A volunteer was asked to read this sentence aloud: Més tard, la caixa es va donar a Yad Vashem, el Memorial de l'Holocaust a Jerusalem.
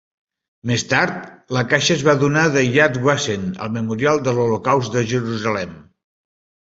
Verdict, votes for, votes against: rejected, 1, 3